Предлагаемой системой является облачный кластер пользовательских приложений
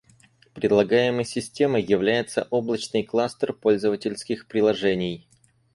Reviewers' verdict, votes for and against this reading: accepted, 2, 0